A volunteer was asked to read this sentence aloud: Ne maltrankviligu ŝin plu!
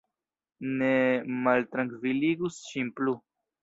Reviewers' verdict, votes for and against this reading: rejected, 0, 2